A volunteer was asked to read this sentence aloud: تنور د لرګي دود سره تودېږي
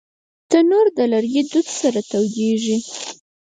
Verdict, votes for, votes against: rejected, 2, 4